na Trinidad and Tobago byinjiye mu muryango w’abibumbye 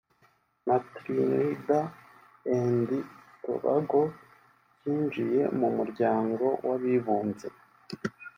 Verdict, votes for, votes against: rejected, 1, 2